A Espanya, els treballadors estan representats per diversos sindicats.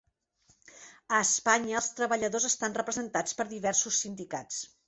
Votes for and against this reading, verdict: 3, 1, accepted